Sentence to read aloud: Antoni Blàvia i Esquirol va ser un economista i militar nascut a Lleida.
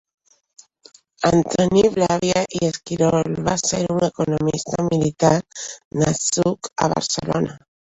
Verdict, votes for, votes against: rejected, 0, 2